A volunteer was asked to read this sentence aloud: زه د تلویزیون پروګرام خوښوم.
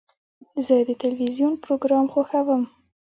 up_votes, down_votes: 2, 1